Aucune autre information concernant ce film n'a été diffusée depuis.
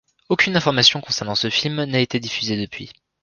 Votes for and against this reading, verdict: 0, 2, rejected